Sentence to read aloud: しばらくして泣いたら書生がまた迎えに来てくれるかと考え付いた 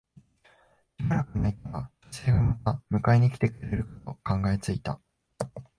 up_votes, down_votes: 1, 2